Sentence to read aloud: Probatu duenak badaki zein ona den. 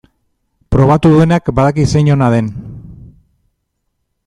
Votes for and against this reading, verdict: 2, 0, accepted